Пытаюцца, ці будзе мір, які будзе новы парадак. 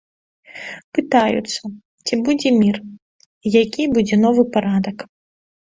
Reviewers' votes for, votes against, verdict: 1, 2, rejected